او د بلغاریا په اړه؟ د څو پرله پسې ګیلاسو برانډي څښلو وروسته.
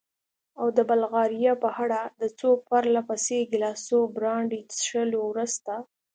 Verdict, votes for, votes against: rejected, 0, 2